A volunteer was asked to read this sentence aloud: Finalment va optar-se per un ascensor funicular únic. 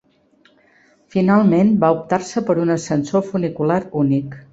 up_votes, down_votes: 2, 0